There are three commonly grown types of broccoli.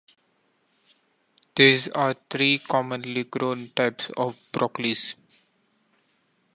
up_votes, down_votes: 2, 1